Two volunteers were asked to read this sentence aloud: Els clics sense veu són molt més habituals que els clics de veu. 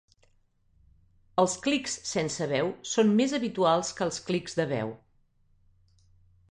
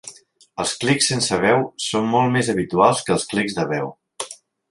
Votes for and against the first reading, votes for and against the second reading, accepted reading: 1, 2, 3, 0, second